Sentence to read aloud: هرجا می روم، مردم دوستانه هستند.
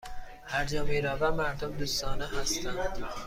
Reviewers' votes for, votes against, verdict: 2, 0, accepted